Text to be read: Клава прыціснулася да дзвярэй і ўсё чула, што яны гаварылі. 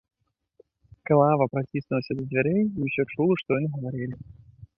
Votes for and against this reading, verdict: 2, 0, accepted